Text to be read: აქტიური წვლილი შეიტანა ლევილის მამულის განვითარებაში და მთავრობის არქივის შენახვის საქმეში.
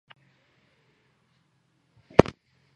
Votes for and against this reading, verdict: 1, 2, rejected